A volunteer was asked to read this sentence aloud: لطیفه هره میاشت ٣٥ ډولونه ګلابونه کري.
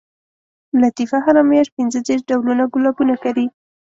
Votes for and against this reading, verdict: 0, 2, rejected